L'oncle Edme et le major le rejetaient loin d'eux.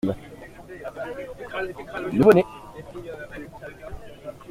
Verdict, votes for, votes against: rejected, 0, 2